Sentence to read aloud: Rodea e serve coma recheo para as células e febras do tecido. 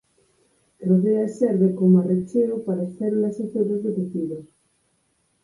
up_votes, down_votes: 4, 2